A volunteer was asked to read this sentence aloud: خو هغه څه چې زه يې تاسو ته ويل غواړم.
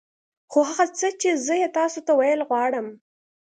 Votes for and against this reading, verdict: 2, 0, accepted